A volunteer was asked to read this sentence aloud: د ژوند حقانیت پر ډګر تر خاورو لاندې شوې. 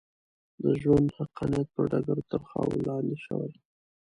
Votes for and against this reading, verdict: 2, 1, accepted